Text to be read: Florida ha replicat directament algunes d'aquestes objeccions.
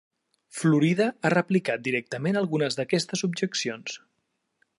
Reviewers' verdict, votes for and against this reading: accepted, 3, 0